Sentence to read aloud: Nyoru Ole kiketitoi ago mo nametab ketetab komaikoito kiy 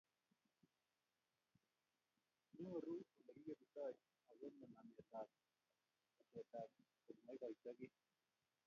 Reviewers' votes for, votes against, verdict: 0, 2, rejected